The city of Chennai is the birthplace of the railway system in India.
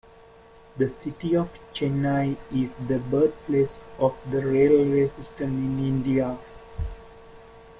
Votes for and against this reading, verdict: 2, 0, accepted